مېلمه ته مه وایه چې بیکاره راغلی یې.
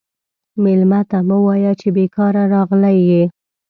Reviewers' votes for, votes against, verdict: 2, 0, accepted